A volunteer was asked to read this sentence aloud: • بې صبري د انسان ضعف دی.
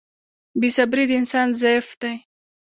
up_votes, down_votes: 0, 2